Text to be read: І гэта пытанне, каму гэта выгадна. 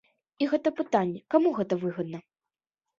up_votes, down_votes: 2, 0